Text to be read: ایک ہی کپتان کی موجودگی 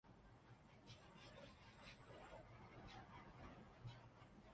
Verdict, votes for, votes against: rejected, 1, 2